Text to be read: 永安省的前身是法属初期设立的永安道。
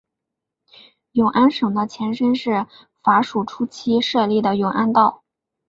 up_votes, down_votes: 3, 0